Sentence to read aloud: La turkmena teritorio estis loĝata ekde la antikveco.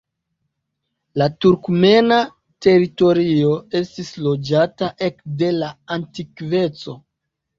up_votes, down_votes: 2, 0